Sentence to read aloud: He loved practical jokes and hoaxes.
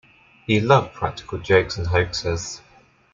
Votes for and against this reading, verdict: 2, 0, accepted